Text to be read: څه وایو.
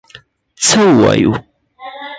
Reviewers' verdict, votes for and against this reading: rejected, 2, 4